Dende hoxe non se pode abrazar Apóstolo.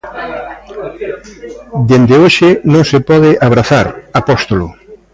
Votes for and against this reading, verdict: 2, 0, accepted